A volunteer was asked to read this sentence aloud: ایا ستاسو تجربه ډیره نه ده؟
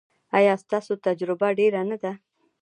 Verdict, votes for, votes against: accepted, 2, 0